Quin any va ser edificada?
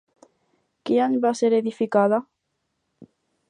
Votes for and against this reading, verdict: 6, 4, accepted